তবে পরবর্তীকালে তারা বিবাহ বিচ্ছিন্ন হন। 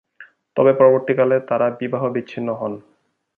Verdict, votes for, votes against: accepted, 3, 0